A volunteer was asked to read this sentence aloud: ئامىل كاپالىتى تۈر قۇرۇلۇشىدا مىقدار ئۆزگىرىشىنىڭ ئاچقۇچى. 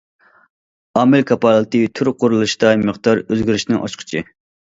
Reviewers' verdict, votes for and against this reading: rejected, 1, 2